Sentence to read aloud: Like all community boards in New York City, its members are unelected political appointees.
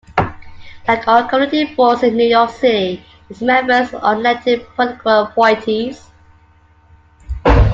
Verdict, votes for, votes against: accepted, 2, 1